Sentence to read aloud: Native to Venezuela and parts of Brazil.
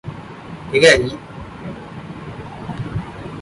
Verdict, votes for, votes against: rejected, 0, 2